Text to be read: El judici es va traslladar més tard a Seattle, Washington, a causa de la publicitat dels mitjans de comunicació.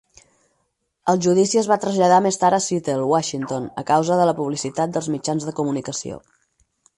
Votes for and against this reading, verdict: 4, 0, accepted